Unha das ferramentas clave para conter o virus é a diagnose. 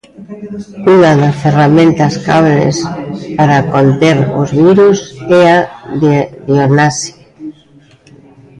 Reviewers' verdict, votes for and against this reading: rejected, 0, 2